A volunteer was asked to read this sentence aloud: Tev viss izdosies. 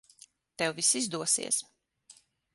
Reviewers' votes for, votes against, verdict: 6, 0, accepted